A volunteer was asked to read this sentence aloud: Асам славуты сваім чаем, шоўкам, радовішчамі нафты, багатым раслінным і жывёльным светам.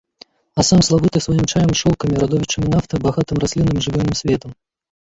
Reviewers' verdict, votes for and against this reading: rejected, 1, 2